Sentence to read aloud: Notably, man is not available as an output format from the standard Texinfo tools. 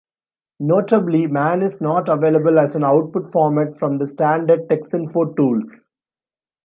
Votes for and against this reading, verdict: 2, 0, accepted